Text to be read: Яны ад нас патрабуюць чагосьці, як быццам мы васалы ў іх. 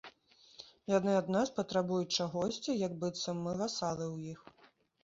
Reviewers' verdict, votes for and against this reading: accepted, 2, 0